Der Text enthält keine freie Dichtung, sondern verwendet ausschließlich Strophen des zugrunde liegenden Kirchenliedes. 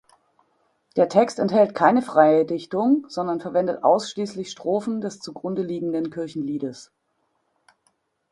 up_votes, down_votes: 2, 0